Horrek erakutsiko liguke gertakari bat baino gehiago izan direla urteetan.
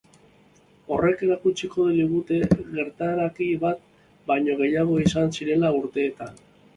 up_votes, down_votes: 1, 4